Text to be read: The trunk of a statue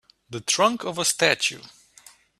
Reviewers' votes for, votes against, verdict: 2, 0, accepted